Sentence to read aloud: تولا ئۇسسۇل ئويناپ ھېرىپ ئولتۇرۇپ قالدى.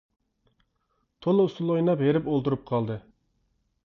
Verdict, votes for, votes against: accepted, 2, 0